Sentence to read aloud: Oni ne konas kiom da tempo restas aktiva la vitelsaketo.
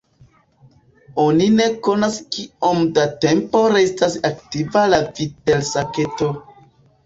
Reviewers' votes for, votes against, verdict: 1, 2, rejected